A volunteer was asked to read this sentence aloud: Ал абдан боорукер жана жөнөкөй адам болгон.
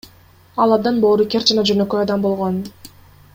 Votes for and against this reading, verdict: 1, 2, rejected